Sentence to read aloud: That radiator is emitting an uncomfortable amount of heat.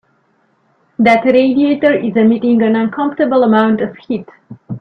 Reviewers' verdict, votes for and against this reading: accepted, 2, 0